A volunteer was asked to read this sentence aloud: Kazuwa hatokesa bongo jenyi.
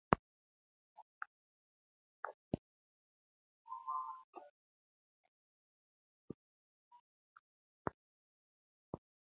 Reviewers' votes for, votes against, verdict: 0, 2, rejected